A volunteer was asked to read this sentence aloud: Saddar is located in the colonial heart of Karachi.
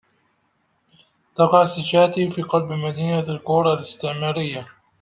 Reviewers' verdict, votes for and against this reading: rejected, 0, 2